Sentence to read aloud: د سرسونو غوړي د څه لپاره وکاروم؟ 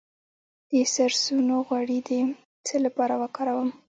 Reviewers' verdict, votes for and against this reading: accepted, 2, 0